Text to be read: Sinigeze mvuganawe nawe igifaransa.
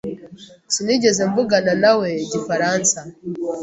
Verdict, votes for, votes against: accepted, 2, 0